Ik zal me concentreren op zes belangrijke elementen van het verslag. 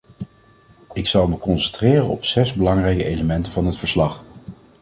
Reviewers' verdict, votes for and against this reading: rejected, 0, 2